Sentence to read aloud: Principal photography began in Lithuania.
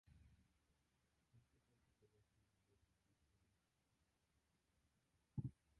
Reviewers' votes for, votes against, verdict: 0, 2, rejected